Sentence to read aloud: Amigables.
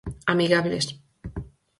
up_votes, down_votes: 4, 0